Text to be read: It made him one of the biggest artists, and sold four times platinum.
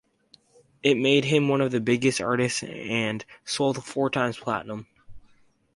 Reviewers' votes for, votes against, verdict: 2, 0, accepted